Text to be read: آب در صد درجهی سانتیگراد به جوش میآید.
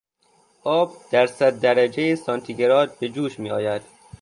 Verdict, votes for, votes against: accepted, 3, 0